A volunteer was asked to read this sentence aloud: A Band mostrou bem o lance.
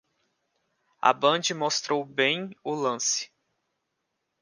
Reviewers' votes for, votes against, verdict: 2, 0, accepted